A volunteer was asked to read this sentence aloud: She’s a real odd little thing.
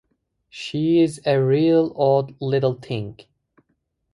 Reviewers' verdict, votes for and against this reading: rejected, 0, 2